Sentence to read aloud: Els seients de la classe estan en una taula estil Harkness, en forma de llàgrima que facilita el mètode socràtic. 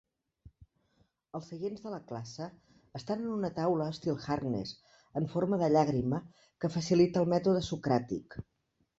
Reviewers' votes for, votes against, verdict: 0, 2, rejected